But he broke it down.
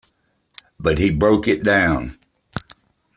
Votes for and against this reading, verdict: 2, 0, accepted